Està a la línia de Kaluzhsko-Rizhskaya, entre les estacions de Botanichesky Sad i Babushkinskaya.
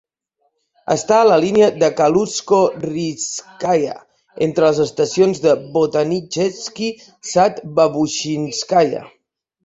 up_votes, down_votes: 2, 3